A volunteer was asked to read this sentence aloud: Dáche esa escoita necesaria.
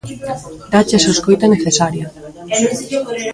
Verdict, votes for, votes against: rejected, 0, 2